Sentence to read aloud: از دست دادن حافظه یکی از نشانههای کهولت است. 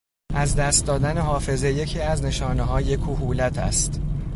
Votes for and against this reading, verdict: 2, 0, accepted